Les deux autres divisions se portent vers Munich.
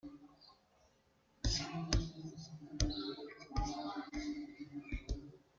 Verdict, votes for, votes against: rejected, 0, 2